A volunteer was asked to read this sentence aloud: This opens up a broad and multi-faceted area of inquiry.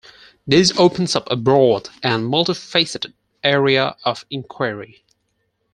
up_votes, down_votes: 2, 4